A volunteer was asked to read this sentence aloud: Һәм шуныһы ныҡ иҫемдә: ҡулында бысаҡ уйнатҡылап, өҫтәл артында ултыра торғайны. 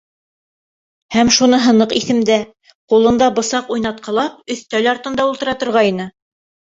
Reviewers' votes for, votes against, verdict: 2, 0, accepted